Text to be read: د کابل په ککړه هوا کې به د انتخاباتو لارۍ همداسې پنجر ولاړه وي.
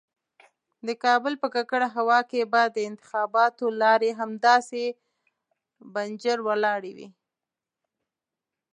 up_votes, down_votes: 1, 2